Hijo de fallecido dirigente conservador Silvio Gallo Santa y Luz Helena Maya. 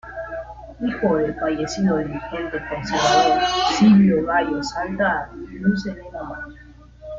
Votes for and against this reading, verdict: 0, 2, rejected